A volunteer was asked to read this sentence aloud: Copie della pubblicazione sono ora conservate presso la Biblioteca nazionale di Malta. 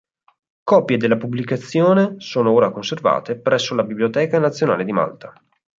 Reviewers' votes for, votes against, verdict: 4, 0, accepted